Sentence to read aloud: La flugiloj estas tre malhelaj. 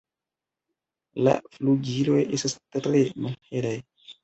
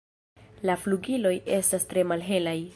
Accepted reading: first